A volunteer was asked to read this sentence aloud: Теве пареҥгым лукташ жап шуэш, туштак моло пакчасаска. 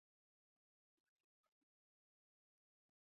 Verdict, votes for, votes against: rejected, 1, 2